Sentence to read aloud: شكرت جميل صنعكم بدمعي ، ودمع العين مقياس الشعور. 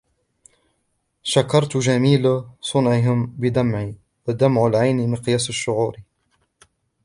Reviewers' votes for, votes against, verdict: 1, 2, rejected